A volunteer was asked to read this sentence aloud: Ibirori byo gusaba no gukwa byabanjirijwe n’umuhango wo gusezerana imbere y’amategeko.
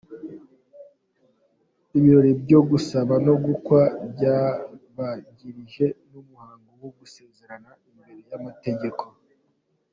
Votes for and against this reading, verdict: 2, 1, accepted